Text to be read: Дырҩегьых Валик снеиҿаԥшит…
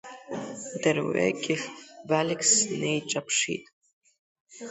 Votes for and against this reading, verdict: 2, 0, accepted